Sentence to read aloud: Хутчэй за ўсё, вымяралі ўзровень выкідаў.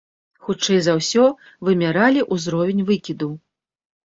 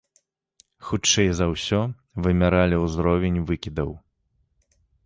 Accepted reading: second